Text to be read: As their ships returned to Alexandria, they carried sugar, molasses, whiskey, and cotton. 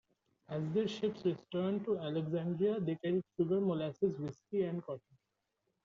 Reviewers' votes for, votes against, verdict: 2, 1, accepted